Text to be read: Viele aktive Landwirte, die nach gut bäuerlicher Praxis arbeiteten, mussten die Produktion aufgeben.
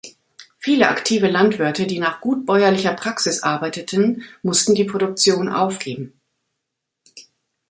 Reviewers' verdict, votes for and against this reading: accepted, 3, 0